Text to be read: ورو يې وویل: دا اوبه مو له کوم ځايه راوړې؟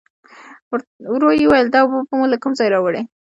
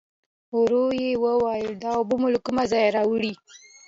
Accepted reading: second